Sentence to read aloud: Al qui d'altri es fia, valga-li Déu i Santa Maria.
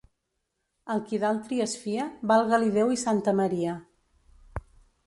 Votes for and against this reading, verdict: 3, 0, accepted